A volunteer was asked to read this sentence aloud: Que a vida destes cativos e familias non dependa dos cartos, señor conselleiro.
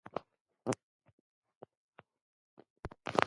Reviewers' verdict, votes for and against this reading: rejected, 0, 2